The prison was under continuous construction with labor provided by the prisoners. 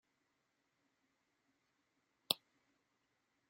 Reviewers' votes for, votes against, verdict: 0, 2, rejected